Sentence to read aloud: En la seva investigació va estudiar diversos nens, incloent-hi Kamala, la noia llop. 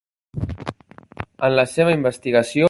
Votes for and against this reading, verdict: 0, 2, rejected